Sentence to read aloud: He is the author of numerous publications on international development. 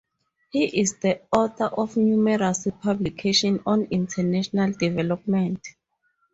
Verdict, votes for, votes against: rejected, 2, 2